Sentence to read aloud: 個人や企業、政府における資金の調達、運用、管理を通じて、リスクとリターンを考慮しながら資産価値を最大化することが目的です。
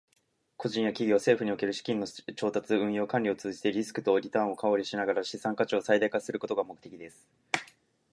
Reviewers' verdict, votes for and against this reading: rejected, 1, 2